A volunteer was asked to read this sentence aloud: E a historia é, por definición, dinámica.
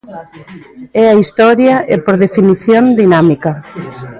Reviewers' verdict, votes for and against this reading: rejected, 1, 2